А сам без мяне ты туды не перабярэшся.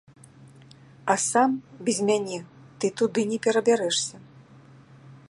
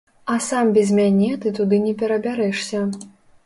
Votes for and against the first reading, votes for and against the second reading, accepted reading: 2, 0, 0, 2, first